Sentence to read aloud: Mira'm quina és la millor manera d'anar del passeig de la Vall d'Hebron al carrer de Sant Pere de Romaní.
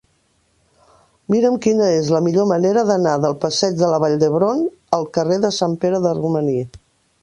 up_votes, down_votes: 3, 0